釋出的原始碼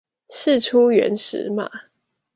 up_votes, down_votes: 1, 2